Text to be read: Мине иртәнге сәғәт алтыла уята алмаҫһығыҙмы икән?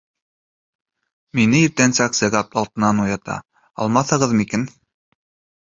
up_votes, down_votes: 3, 4